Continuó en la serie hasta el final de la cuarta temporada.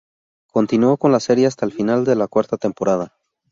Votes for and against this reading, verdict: 0, 2, rejected